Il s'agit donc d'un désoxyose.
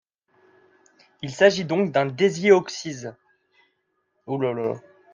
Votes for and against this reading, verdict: 0, 2, rejected